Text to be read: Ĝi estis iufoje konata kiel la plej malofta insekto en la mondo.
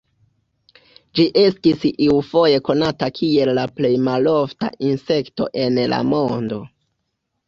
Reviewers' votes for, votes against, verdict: 2, 0, accepted